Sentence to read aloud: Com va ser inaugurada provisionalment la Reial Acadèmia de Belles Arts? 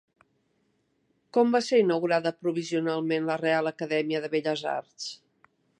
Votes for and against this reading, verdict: 1, 2, rejected